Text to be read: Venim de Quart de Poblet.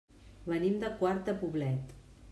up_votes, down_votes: 2, 0